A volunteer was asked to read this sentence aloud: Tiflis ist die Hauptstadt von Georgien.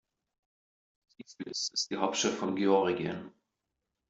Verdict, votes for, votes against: rejected, 1, 2